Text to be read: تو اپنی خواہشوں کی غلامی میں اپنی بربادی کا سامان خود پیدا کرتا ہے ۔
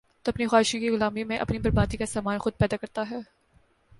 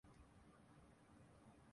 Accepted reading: first